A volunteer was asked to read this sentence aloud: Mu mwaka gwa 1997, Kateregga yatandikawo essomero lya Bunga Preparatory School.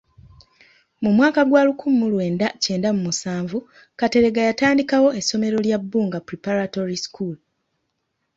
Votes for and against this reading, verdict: 0, 2, rejected